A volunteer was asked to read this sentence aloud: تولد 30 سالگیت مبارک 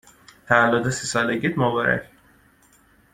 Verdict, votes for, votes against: rejected, 0, 2